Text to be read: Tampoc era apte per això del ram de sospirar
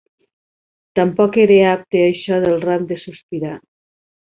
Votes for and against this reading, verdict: 0, 3, rejected